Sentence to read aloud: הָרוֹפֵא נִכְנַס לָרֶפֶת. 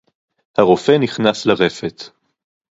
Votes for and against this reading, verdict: 2, 0, accepted